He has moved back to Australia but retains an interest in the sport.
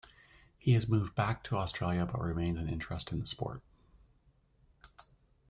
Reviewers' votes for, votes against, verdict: 0, 2, rejected